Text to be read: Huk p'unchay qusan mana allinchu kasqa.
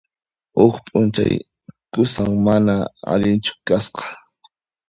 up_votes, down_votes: 2, 0